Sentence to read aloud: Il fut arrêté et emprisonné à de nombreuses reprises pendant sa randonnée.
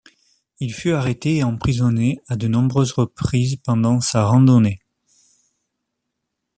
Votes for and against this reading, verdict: 3, 0, accepted